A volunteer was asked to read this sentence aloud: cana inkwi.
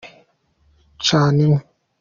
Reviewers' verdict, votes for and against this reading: accepted, 2, 0